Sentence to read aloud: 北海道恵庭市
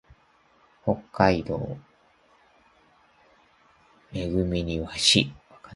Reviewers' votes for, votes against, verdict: 1, 2, rejected